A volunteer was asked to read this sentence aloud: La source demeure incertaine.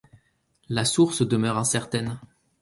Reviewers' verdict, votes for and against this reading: accepted, 4, 0